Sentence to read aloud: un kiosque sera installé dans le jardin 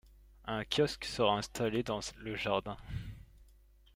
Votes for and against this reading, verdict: 0, 2, rejected